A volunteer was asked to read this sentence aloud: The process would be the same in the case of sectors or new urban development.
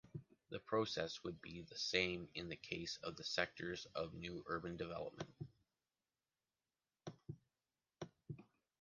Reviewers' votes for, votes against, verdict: 0, 2, rejected